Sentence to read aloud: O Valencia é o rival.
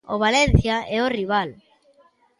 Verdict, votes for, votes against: accepted, 2, 0